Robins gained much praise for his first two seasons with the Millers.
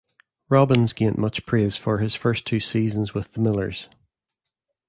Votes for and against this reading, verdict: 2, 0, accepted